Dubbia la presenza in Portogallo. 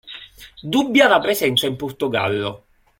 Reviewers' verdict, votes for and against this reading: accepted, 2, 0